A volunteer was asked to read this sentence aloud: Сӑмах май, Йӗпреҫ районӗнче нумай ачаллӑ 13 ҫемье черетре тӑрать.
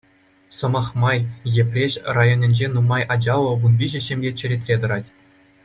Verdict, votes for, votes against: rejected, 0, 2